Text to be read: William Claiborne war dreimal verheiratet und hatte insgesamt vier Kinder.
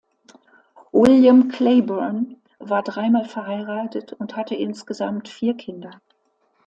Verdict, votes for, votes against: accepted, 2, 0